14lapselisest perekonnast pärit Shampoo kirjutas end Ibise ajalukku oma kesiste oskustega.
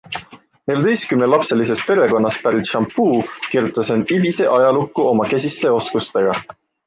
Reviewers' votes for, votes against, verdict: 0, 2, rejected